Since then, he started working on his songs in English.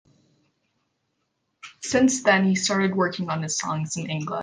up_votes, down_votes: 0, 2